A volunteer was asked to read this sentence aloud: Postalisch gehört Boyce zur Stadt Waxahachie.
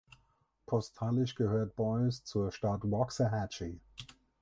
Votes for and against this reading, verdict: 4, 6, rejected